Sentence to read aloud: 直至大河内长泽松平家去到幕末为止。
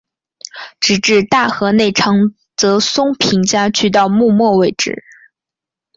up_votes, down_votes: 3, 0